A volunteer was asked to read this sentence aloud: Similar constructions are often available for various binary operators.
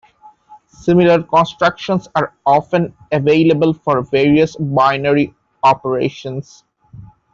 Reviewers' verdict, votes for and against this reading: rejected, 0, 2